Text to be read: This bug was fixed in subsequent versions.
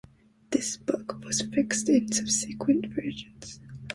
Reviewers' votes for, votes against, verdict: 2, 1, accepted